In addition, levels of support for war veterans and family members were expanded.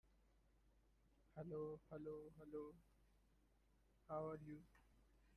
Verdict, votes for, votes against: rejected, 0, 2